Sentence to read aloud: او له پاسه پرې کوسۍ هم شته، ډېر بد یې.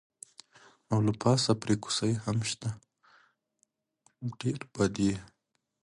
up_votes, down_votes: 2, 1